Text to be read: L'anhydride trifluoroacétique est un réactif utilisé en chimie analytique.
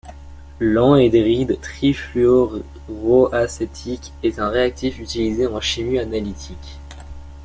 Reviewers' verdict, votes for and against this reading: rejected, 1, 2